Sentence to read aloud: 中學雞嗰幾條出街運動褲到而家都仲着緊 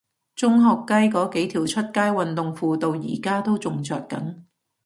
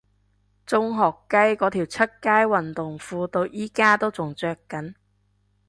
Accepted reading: first